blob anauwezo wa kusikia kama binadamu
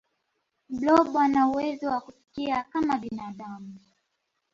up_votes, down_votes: 1, 2